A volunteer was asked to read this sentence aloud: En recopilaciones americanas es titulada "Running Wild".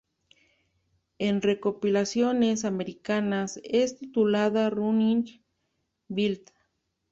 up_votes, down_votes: 2, 0